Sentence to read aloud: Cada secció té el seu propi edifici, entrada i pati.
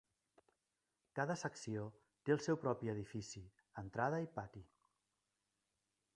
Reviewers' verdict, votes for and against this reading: rejected, 1, 2